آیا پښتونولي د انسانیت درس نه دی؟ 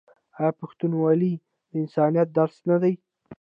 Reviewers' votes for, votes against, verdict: 2, 1, accepted